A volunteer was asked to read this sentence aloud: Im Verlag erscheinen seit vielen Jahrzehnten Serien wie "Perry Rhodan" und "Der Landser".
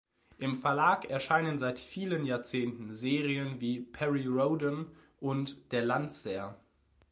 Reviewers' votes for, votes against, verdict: 2, 0, accepted